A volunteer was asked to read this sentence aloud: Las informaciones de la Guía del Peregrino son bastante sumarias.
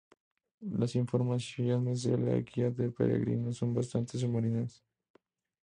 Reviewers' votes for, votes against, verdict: 0, 2, rejected